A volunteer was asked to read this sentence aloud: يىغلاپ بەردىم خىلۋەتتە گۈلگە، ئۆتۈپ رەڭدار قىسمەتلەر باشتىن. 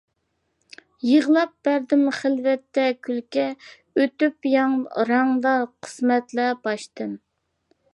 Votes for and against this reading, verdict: 0, 2, rejected